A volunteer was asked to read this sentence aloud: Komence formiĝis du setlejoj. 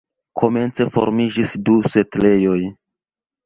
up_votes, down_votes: 2, 1